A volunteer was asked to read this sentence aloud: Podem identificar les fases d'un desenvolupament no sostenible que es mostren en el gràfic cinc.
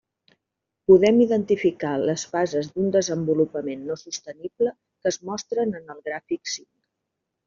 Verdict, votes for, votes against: accepted, 3, 0